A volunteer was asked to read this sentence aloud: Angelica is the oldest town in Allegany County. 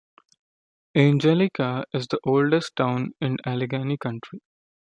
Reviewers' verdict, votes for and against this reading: rejected, 0, 2